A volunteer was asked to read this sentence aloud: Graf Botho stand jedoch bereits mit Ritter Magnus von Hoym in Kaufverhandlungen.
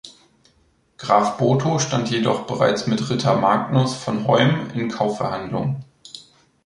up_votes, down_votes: 2, 0